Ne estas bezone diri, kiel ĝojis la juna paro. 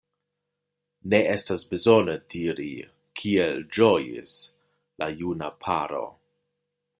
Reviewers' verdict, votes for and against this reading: accepted, 2, 0